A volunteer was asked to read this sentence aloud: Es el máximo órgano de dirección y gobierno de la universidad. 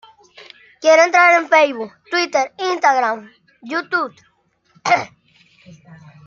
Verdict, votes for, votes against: rejected, 0, 2